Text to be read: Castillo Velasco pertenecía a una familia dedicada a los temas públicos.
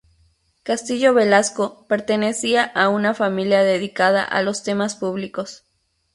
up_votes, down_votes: 2, 0